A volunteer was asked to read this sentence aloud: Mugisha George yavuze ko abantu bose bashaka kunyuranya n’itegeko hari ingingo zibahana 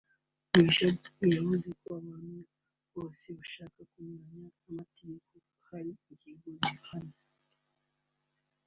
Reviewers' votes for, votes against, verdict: 1, 2, rejected